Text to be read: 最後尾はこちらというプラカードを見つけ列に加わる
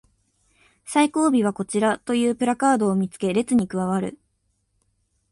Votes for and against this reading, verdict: 2, 0, accepted